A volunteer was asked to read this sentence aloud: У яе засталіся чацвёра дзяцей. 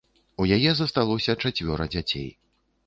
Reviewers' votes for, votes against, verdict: 2, 3, rejected